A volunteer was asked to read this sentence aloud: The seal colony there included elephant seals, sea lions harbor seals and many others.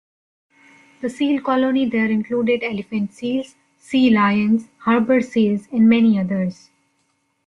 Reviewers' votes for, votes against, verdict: 2, 1, accepted